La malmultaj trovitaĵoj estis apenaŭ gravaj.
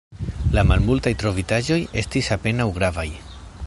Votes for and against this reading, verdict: 2, 0, accepted